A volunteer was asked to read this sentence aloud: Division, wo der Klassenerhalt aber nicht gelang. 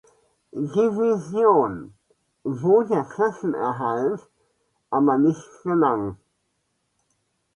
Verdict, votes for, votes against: accepted, 2, 0